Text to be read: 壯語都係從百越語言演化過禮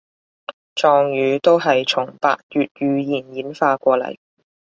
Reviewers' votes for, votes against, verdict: 2, 0, accepted